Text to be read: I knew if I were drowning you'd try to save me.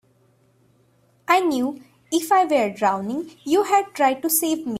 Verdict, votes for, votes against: rejected, 0, 2